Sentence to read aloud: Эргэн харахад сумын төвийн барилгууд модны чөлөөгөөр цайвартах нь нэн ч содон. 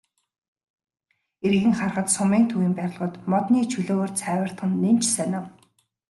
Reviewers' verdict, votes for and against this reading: rejected, 0, 2